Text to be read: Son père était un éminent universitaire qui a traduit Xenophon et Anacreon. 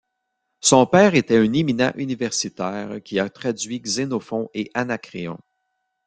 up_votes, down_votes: 2, 0